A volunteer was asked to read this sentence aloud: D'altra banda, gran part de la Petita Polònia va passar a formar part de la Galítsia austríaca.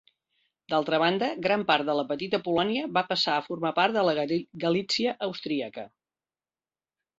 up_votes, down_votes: 1, 2